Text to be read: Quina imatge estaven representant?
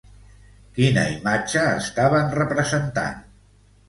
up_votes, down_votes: 1, 2